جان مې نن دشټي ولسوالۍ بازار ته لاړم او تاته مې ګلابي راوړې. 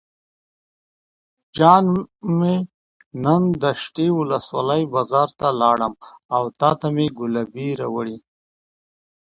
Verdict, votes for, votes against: rejected, 0, 2